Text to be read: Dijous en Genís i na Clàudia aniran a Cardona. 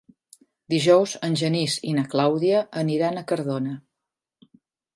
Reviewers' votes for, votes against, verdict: 3, 0, accepted